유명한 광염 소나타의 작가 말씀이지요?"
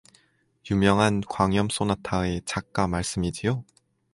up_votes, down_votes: 4, 0